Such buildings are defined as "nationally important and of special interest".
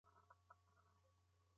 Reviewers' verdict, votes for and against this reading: rejected, 0, 2